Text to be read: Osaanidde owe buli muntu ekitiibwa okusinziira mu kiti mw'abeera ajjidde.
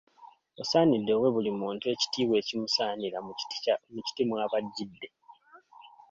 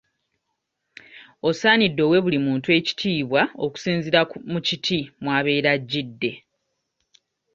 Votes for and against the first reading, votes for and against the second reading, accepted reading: 0, 2, 2, 0, second